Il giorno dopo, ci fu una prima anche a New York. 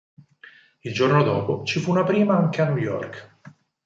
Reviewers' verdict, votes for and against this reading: accepted, 4, 0